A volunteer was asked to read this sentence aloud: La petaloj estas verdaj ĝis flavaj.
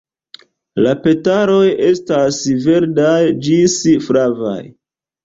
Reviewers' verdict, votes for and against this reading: rejected, 0, 2